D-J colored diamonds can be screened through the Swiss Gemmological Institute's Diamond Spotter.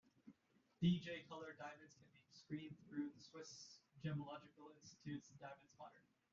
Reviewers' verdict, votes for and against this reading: rejected, 1, 2